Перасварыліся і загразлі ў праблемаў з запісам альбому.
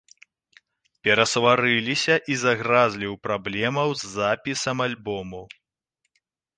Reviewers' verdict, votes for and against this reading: accepted, 2, 0